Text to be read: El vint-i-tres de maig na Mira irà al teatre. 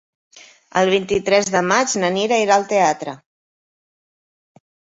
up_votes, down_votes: 2, 1